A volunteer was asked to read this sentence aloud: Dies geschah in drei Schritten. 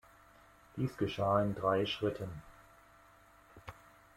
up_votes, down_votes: 2, 0